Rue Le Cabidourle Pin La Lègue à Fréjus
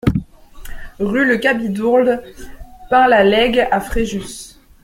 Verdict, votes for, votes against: rejected, 1, 2